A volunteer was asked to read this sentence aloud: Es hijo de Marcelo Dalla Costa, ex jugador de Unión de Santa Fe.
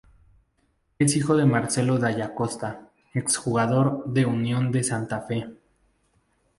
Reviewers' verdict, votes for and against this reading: accepted, 4, 0